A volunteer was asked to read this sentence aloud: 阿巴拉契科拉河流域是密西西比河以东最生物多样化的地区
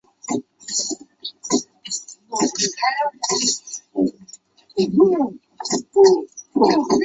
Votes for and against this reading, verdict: 0, 3, rejected